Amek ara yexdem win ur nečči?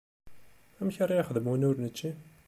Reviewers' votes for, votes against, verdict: 2, 0, accepted